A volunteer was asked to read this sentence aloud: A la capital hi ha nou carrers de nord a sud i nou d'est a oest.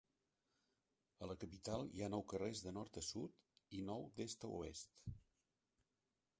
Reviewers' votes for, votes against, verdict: 1, 2, rejected